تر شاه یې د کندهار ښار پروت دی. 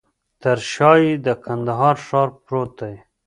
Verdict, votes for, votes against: rejected, 0, 2